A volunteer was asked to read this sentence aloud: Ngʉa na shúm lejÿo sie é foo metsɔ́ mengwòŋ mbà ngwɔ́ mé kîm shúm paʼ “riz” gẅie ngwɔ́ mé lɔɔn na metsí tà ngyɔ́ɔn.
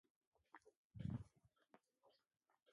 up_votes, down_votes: 0, 2